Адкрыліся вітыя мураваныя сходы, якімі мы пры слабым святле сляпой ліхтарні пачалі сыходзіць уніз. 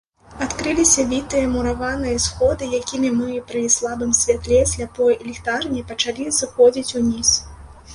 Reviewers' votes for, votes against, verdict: 1, 2, rejected